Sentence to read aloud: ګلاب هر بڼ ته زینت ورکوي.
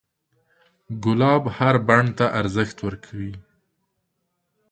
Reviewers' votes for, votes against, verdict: 0, 2, rejected